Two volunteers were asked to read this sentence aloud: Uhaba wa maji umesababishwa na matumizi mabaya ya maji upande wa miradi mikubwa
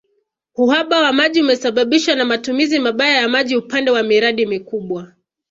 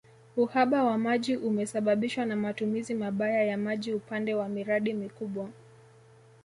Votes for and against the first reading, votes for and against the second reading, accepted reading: 2, 0, 0, 2, first